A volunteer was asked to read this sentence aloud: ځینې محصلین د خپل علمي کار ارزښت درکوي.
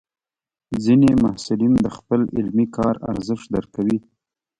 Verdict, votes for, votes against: accepted, 2, 0